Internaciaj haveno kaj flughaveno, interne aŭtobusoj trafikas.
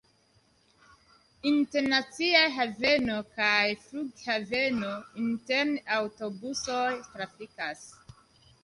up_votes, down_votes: 1, 2